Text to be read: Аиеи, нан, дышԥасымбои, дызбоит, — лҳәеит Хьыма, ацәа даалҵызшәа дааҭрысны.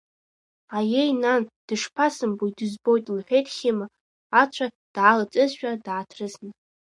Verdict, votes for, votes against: accepted, 2, 0